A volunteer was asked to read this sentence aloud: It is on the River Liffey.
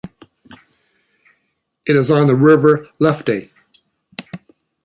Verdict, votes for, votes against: rejected, 1, 2